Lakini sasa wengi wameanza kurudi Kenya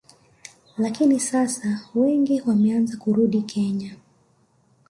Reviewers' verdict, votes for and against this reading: accepted, 2, 0